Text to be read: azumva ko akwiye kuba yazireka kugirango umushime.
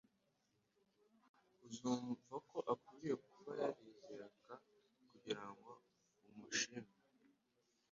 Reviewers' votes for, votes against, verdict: 0, 2, rejected